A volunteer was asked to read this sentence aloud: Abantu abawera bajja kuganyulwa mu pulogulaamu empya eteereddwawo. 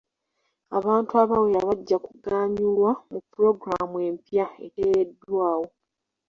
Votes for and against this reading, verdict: 2, 0, accepted